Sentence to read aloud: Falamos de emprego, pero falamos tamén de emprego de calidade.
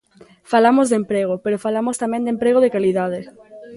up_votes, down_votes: 2, 0